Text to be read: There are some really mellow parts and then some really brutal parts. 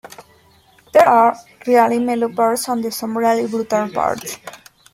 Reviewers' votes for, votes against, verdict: 0, 2, rejected